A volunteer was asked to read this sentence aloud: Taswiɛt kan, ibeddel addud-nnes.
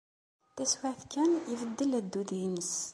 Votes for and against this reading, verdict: 2, 0, accepted